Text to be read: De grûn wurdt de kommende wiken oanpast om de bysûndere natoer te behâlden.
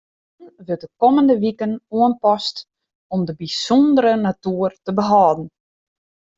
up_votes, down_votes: 0, 2